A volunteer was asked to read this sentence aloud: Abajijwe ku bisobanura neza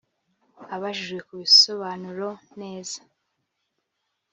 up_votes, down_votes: 1, 2